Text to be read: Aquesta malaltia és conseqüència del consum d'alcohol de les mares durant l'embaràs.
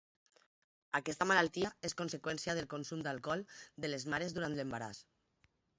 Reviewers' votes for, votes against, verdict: 4, 2, accepted